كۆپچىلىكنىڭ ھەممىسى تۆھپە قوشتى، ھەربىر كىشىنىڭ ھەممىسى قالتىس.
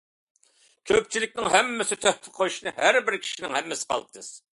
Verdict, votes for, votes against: accepted, 2, 0